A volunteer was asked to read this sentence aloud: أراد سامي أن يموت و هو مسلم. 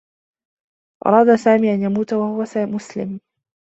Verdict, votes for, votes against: rejected, 1, 2